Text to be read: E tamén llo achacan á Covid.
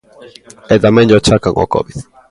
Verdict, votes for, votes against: rejected, 0, 2